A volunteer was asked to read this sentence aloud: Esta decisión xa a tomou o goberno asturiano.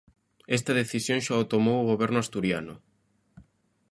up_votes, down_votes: 0, 2